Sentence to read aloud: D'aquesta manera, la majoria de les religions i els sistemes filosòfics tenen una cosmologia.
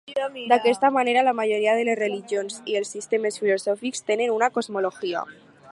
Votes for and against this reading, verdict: 2, 0, accepted